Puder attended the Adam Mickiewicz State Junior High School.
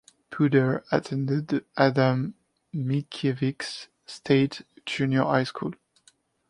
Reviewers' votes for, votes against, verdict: 1, 2, rejected